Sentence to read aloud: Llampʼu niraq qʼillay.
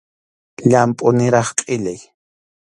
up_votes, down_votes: 2, 0